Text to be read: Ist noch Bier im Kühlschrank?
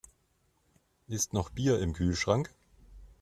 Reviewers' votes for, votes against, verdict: 2, 0, accepted